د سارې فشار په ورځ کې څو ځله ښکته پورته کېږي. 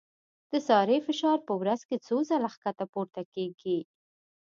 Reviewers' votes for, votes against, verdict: 2, 0, accepted